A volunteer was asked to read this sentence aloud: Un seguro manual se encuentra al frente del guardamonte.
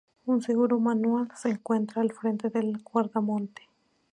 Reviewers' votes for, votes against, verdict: 4, 0, accepted